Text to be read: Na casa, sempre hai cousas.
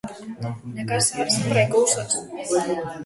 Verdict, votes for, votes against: rejected, 1, 2